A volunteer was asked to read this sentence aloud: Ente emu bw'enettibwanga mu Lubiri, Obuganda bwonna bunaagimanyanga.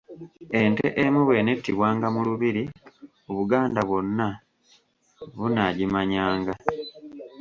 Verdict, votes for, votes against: accepted, 2, 0